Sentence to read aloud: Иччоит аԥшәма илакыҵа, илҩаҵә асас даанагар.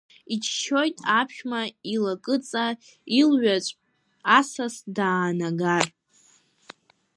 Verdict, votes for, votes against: rejected, 1, 2